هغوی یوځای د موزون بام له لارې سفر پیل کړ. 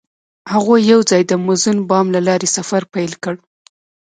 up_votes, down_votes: 1, 2